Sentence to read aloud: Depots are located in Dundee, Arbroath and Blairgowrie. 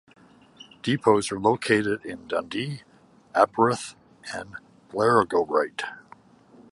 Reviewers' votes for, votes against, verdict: 0, 2, rejected